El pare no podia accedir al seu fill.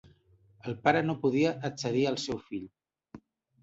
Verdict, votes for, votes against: accepted, 2, 0